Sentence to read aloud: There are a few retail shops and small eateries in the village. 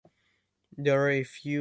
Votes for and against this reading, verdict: 0, 2, rejected